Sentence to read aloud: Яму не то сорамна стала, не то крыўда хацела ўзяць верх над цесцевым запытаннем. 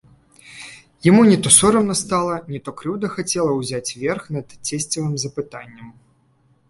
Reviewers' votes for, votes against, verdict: 2, 0, accepted